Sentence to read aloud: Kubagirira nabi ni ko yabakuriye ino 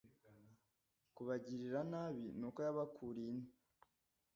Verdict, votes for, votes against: rejected, 1, 2